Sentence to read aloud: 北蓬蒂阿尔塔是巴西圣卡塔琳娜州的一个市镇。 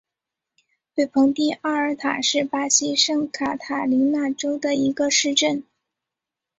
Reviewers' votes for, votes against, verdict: 4, 0, accepted